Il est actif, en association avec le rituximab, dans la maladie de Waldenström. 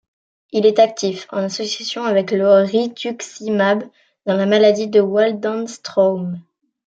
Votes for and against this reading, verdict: 0, 2, rejected